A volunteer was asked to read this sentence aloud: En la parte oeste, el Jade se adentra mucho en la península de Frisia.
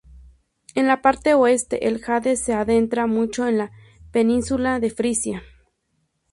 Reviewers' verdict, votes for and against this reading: accepted, 4, 0